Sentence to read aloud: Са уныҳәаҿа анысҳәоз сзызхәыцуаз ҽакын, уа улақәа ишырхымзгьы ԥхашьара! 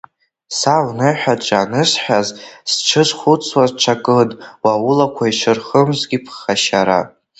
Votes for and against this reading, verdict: 0, 2, rejected